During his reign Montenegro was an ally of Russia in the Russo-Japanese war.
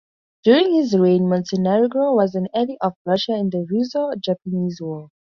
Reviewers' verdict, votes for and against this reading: accepted, 2, 0